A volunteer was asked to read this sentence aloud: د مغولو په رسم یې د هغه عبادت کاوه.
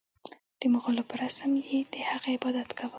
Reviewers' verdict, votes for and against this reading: accepted, 2, 1